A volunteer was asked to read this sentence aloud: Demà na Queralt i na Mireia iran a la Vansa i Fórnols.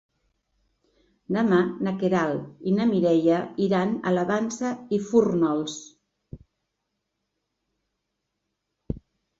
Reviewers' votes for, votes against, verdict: 2, 0, accepted